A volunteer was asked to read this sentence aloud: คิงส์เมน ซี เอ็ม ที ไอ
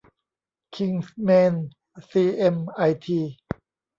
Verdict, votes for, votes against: rejected, 0, 2